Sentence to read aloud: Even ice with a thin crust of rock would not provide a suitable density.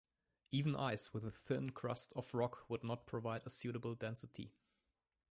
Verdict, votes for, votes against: accepted, 2, 0